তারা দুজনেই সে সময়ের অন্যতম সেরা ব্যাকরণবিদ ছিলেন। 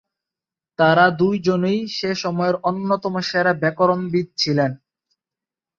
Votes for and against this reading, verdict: 0, 3, rejected